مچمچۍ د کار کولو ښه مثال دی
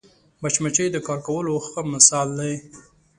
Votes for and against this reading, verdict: 2, 0, accepted